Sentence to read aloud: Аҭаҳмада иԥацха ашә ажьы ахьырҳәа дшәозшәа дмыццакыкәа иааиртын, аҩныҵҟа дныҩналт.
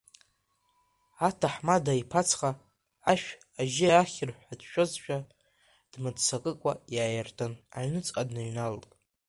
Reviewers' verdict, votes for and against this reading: rejected, 1, 2